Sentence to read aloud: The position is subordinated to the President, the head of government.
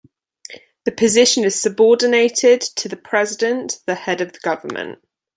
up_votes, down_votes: 0, 2